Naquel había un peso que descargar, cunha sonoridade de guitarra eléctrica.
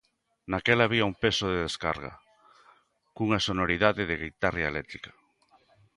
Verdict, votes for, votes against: rejected, 0, 2